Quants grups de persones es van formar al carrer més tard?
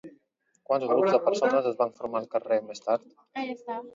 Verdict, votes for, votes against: rejected, 0, 2